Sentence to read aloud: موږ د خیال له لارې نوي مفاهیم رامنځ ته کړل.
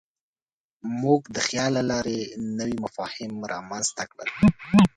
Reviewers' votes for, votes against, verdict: 1, 2, rejected